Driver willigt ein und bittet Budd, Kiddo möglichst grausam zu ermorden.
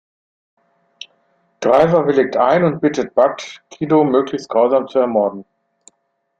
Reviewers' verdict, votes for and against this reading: accepted, 2, 0